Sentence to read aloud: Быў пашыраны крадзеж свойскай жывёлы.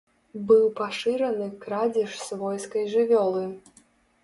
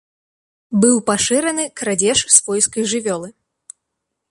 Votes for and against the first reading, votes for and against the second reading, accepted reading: 0, 2, 2, 0, second